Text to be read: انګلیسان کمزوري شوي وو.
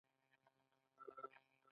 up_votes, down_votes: 1, 2